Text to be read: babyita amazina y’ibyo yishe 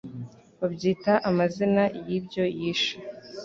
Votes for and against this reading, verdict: 2, 0, accepted